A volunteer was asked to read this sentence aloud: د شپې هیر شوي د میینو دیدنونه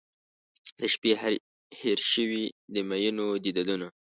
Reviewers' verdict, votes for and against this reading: rejected, 1, 2